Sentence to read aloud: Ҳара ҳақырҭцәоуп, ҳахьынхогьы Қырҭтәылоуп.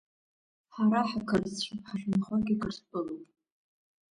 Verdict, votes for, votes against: accepted, 2, 0